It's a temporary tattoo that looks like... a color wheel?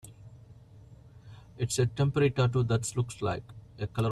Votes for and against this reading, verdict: 0, 2, rejected